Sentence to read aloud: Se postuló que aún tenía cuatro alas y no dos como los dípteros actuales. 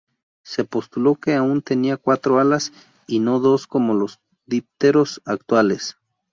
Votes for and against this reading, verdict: 2, 0, accepted